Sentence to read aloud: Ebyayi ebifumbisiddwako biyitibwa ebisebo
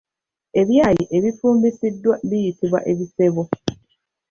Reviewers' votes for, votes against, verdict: 3, 0, accepted